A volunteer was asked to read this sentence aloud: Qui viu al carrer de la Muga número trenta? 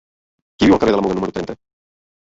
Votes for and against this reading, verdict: 1, 2, rejected